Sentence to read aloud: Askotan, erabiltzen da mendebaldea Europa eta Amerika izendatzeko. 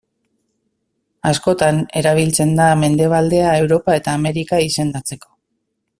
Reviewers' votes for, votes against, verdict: 2, 0, accepted